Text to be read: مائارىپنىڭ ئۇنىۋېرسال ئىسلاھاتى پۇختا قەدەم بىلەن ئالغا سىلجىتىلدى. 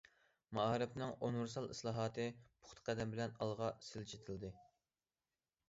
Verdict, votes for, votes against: accepted, 2, 0